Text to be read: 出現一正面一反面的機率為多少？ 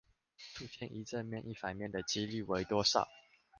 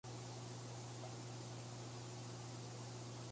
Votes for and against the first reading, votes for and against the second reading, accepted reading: 2, 0, 0, 2, first